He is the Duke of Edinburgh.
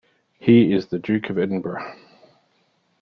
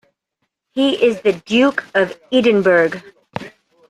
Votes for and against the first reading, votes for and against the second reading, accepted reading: 2, 0, 1, 2, first